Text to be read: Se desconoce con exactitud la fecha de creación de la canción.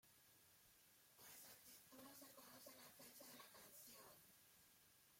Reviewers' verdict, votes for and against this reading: rejected, 0, 2